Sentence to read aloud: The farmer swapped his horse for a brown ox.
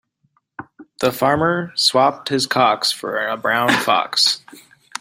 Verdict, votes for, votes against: rejected, 0, 2